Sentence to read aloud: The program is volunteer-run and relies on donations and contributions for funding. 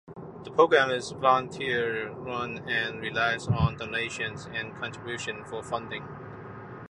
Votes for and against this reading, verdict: 2, 0, accepted